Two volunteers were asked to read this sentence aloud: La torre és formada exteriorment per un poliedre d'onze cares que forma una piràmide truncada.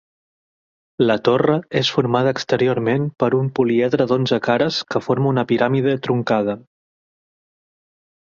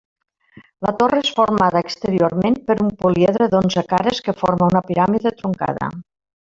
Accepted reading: first